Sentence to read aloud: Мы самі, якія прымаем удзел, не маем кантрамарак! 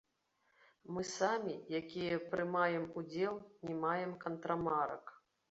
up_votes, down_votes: 2, 0